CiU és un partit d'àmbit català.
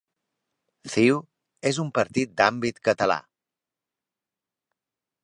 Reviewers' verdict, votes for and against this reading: rejected, 1, 2